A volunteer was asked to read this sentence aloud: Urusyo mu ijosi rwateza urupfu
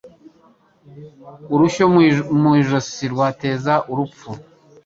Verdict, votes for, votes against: accepted, 2, 1